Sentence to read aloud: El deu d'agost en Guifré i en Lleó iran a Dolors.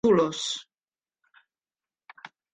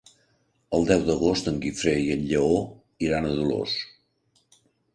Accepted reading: second